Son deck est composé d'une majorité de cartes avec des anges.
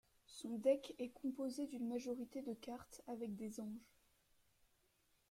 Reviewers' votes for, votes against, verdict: 1, 2, rejected